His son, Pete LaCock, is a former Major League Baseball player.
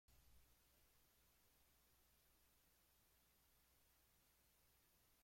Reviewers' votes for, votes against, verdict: 0, 2, rejected